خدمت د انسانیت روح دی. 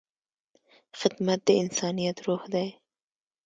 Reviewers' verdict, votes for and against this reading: accepted, 2, 0